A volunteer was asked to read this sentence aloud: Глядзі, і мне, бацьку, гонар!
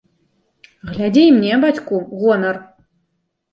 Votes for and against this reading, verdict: 1, 2, rejected